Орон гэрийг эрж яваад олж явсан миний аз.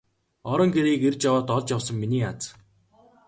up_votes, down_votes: 2, 0